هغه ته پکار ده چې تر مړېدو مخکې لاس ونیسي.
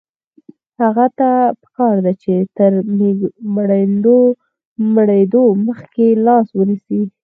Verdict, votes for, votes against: rejected, 2, 4